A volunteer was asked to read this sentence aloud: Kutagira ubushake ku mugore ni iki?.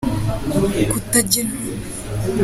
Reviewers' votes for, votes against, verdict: 0, 3, rejected